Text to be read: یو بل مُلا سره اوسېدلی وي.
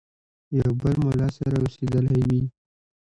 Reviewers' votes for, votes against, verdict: 1, 2, rejected